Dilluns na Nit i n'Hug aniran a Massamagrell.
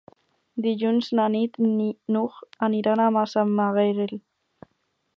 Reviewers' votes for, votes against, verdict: 0, 4, rejected